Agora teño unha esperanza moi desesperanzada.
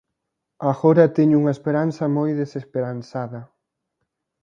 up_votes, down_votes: 2, 0